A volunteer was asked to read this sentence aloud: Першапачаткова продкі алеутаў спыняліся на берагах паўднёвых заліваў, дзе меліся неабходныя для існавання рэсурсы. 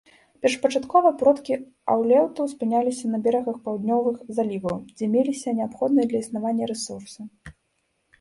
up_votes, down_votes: 1, 2